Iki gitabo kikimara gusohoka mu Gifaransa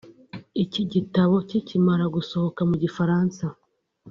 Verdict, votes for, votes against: accepted, 2, 0